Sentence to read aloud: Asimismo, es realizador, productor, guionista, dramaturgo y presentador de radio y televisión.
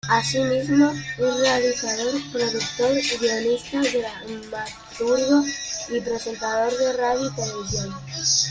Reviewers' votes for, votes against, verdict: 0, 2, rejected